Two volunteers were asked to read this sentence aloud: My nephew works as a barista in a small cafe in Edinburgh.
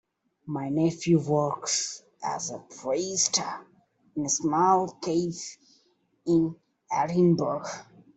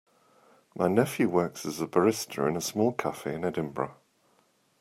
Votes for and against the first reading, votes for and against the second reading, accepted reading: 0, 2, 2, 0, second